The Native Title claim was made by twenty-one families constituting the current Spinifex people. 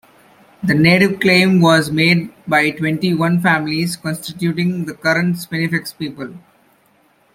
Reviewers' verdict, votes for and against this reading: rejected, 0, 2